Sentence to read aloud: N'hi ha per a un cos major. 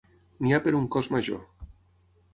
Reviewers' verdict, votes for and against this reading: accepted, 9, 6